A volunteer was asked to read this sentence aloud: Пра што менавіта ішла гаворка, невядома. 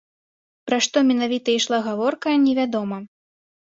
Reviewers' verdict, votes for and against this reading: accepted, 2, 0